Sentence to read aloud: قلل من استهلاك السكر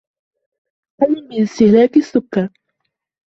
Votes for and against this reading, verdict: 0, 2, rejected